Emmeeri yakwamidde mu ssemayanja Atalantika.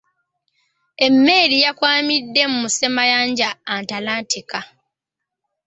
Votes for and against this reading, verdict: 1, 2, rejected